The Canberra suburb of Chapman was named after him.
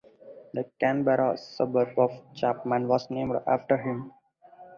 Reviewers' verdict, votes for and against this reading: accepted, 2, 0